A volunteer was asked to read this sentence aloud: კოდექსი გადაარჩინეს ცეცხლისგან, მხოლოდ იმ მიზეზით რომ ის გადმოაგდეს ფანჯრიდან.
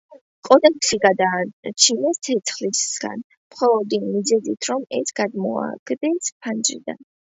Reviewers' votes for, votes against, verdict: 1, 2, rejected